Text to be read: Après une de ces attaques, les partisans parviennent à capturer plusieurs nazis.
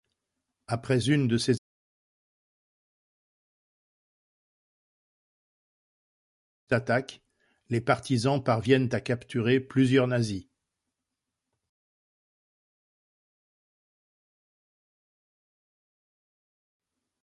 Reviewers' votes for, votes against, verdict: 0, 2, rejected